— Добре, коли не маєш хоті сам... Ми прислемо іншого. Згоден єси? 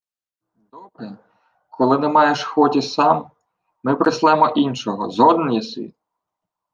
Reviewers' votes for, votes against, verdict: 0, 2, rejected